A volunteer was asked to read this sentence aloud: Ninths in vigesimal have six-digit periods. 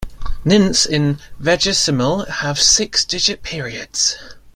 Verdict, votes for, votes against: rejected, 0, 2